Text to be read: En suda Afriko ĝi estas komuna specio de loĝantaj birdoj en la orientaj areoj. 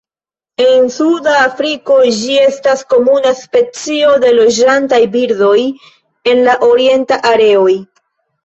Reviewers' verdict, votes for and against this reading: rejected, 1, 2